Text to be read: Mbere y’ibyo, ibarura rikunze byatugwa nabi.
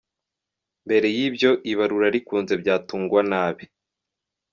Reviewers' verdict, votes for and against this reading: rejected, 0, 2